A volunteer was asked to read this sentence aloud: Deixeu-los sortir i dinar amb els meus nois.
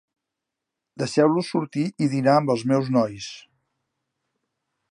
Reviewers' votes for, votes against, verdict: 2, 0, accepted